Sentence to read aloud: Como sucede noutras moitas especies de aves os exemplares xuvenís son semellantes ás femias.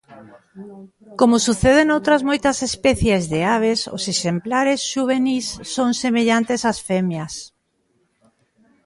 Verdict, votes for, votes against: accepted, 2, 0